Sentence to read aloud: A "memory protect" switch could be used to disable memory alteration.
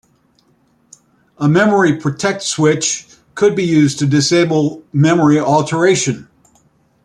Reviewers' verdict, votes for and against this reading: accepted, 2, 1